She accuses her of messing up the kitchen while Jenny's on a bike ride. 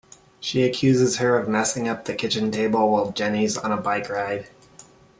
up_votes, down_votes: 0, 2